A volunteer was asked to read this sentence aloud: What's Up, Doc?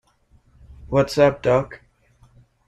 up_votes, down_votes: 1, 2